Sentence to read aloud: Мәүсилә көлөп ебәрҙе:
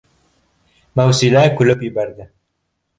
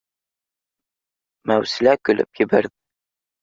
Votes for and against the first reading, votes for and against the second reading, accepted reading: 2, 0, 0, 2, first